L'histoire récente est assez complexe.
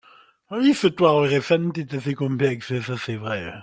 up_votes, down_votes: 1, 2